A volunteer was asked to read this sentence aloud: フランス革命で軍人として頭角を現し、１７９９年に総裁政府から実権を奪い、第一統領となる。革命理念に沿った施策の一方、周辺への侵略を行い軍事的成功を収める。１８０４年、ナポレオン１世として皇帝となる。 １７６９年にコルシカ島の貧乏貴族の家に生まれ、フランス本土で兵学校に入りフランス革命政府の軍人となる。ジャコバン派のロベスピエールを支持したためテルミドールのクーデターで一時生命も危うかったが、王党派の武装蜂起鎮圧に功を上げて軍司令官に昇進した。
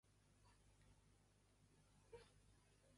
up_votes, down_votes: 0, 2